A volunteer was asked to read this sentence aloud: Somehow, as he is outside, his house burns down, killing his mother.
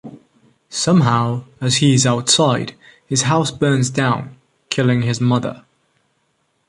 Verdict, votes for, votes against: rejected, 1, 2